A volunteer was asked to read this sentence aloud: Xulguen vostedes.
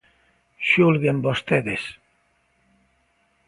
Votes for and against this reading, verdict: 2, 0, accepted